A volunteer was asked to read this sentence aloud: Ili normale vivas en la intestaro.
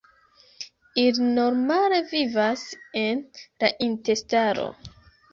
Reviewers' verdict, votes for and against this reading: accepted, 3, 0